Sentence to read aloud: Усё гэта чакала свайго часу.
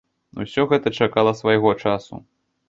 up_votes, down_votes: 2, 0